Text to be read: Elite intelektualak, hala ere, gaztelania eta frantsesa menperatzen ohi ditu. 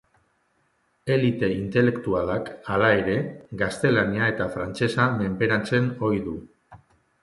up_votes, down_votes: 0, 3